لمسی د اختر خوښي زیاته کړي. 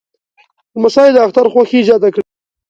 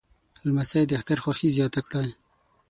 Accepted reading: first